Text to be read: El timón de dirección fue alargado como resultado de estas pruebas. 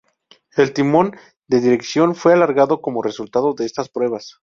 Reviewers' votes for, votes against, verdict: 0, 2, rejected